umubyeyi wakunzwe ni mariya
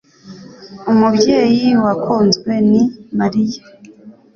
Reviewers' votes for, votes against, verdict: 2, 0, accepted